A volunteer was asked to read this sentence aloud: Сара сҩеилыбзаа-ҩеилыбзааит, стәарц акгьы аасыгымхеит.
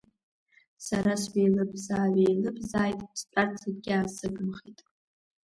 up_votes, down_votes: 1, 2